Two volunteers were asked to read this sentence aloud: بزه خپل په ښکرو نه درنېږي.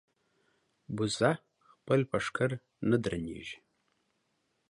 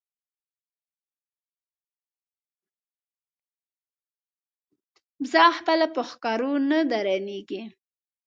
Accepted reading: first